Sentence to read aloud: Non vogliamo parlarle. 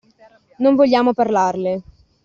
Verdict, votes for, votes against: accepted, 2, 0